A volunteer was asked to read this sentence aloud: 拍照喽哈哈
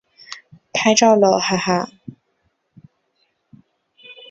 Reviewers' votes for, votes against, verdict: 6, 0, accepted